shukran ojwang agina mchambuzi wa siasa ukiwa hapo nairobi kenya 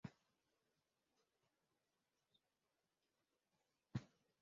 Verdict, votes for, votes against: rejected, 0, 2